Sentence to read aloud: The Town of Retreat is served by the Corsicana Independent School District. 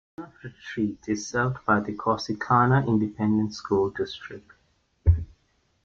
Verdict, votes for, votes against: rejected, 0, 3